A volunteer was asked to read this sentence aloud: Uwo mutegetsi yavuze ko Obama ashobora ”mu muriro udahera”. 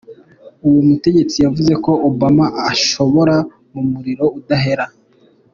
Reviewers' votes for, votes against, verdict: 2, 0, accepted